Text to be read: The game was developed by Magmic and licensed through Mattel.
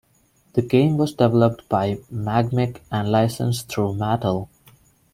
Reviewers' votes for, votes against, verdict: 1, 2, rejected